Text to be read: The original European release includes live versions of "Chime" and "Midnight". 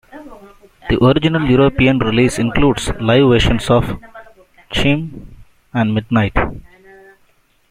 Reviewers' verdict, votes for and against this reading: rejected, 0, 2